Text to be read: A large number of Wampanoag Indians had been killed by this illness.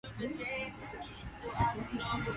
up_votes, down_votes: 0, 2